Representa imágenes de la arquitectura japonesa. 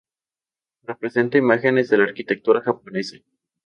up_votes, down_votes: 2, 0